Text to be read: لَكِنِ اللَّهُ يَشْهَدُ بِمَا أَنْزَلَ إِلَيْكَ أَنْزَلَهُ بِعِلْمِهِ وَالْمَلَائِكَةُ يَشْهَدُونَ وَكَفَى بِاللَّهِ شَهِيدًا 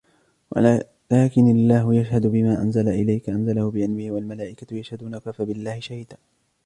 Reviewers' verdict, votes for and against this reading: rejected, 1, 2